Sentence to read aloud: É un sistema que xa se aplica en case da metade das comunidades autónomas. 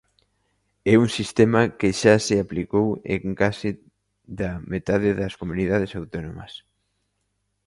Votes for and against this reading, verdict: 0, 2, rejected